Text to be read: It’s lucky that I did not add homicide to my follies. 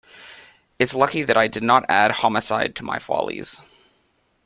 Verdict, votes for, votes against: accepted, 2, 0